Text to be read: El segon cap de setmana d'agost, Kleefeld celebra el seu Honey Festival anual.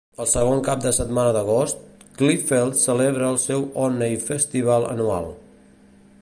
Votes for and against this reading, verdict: 1, 2, rejected